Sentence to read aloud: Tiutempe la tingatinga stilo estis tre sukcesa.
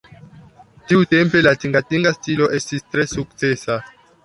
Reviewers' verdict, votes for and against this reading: accepted, 2, 0